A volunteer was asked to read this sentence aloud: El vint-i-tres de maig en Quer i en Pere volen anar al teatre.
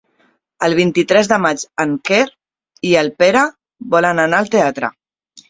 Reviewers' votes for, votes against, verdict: 1, 2, rejected